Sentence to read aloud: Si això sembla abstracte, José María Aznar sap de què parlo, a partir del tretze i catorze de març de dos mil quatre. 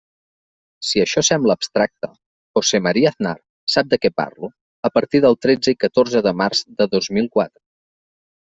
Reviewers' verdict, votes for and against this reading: rejected, 1, 2